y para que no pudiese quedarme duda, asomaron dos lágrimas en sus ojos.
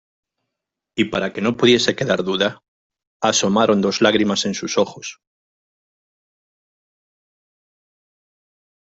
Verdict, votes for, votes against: rejected, 1, 2